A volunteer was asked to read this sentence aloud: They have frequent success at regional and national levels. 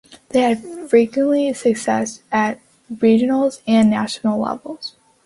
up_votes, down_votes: 1, 2